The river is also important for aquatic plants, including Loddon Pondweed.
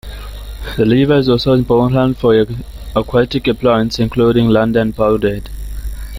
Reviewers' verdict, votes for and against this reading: accepted, 2, 0